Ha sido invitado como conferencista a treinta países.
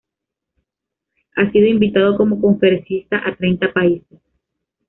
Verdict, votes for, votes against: accepted, 2, 0